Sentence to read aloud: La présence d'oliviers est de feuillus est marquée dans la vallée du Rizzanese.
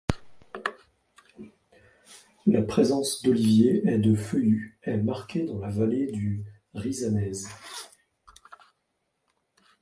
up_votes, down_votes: 2, 0